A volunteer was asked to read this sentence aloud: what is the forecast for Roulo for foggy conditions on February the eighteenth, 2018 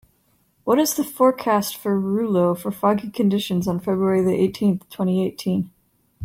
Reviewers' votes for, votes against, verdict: 0, 2, rejected